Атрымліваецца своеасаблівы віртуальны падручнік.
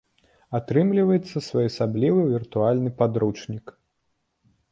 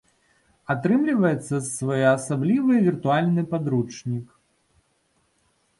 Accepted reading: first